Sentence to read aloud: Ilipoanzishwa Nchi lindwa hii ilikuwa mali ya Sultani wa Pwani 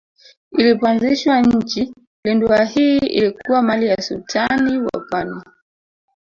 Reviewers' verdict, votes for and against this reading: rejected, 1, 2